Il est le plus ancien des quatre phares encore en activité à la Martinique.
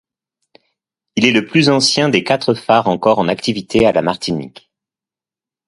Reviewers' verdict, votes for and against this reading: accepted, 2, 0